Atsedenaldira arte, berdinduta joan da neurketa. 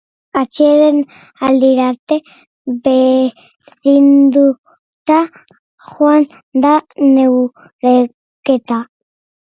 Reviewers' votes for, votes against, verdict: 1, 2, rejected